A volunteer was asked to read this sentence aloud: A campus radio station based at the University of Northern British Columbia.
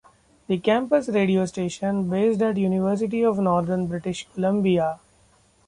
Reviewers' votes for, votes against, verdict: 1, 2, rejected